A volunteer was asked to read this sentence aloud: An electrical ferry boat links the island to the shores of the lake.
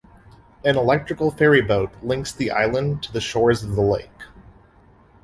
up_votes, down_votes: 2, 0